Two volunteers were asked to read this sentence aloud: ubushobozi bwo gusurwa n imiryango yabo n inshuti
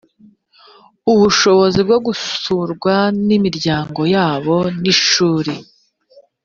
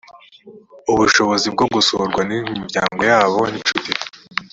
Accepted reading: second